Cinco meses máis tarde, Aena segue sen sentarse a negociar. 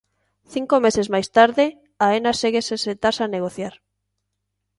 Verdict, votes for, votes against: accepted, 2, 0